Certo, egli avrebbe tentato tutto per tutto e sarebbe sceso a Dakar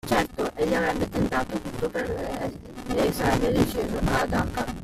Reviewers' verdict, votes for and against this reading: rejected, 0, 2